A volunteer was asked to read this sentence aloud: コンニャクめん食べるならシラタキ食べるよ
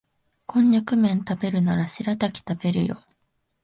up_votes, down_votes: 3, 0